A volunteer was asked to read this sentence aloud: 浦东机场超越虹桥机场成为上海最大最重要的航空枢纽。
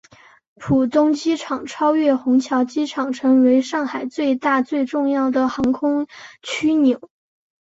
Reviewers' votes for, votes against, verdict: 1, 3, rejected